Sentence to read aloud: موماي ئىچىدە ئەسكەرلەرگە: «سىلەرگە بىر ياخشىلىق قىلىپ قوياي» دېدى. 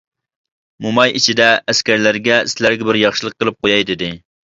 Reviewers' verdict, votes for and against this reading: accepted, 2, 0